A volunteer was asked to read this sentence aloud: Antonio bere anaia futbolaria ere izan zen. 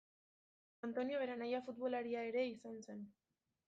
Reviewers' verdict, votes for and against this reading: accepted, 2, 0